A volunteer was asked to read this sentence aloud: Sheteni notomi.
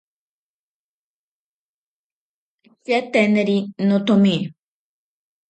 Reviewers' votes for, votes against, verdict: 0, 4, rejected